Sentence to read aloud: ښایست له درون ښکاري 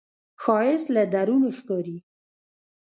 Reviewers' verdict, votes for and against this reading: accepted, 2, 1